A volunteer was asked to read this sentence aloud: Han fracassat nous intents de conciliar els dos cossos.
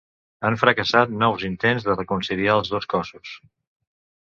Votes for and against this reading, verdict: 1, 2, rejected